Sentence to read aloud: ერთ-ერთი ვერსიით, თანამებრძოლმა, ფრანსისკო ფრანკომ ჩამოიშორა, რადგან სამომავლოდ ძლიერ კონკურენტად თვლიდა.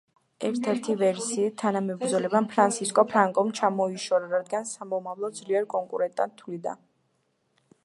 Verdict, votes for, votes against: accepted, 2, 0